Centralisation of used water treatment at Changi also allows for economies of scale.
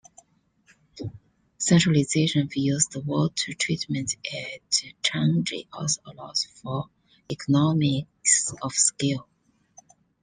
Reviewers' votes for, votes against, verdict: 0, 2, rejected